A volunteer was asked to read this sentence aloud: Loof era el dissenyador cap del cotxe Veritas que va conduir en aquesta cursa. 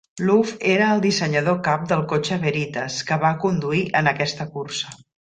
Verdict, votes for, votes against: accepted, 2, 0